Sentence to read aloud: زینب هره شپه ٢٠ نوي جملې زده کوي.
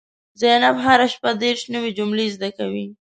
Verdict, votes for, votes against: rejected, 0, 2